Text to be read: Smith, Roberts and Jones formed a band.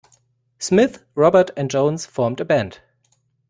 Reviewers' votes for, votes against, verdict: 0, 2, rejected